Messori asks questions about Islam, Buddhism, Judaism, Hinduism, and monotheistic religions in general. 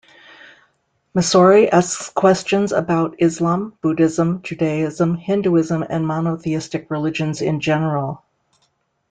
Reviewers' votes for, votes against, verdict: 2, 0, accepted